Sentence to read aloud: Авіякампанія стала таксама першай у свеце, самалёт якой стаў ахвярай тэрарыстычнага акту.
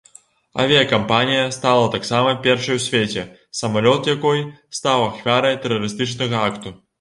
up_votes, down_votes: 2, 0